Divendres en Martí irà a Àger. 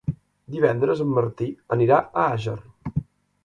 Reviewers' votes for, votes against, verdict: 0, 2, rejected